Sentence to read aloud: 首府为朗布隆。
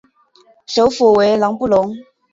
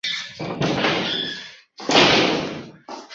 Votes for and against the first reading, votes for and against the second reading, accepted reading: 2, 0, 0, 3, first